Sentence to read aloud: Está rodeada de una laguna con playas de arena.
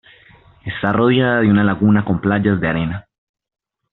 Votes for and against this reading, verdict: 0, 2, rejected